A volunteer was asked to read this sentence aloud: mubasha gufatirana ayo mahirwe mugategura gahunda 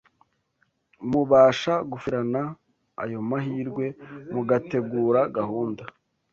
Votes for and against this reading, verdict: 2, 1, accepted